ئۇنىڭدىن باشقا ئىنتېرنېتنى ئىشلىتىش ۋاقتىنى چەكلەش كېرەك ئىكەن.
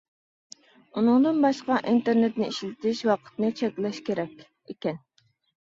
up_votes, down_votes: 1, 2